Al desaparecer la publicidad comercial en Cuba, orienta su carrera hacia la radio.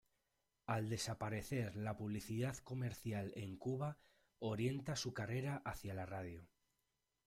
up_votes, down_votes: 2, 0